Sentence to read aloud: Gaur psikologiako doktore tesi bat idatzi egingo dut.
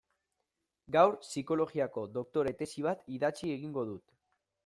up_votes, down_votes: 2, 0